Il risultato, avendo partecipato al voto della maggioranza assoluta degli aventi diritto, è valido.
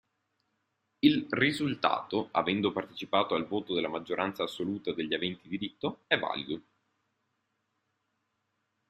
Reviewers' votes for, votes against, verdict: 2, 0, accepted